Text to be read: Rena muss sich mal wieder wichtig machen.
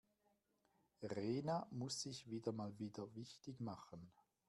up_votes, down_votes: 1, 2